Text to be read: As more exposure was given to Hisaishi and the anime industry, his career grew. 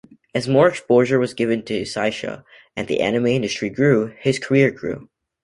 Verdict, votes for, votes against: rejected, 1, 2